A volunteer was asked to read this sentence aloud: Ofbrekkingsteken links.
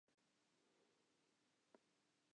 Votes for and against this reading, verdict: 0, 2, rejected